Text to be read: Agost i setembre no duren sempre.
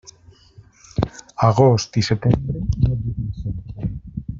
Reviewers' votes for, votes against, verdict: 0, 2, rejected